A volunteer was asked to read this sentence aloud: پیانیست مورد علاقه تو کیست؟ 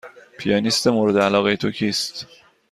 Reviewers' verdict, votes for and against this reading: accepted, 2, 0